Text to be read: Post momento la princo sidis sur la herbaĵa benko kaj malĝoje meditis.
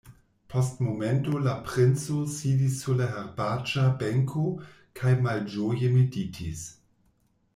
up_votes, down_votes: 0, 2